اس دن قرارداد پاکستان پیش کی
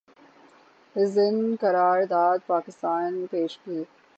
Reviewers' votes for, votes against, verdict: 3, 3, rejected